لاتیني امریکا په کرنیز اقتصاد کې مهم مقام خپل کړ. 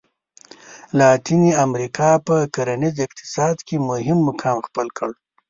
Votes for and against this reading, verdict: 5, 0, accepted